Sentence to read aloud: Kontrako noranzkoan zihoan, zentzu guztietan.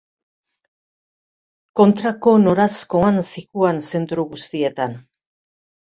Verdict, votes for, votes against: rejected, 1, 2